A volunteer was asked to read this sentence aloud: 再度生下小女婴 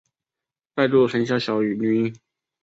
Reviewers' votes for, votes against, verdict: 3, 0, accepted